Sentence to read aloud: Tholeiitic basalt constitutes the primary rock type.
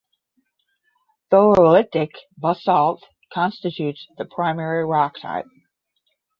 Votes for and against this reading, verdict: 10, 0, accepted